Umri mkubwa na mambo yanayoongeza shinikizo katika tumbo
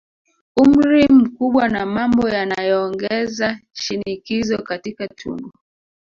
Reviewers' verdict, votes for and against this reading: rejected, 0, 2